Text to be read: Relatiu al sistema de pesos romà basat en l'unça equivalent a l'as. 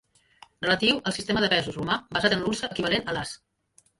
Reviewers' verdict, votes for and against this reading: rejected, 1, 2